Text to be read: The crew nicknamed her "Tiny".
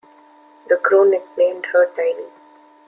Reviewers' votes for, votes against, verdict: 2, 0, accepted